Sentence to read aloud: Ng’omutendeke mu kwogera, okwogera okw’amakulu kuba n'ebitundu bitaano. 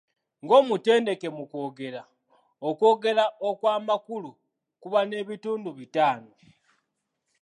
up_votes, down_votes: 0, 2